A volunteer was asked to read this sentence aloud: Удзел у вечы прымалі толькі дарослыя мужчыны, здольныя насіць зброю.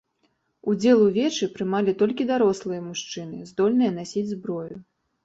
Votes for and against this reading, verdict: 2, 0, accepted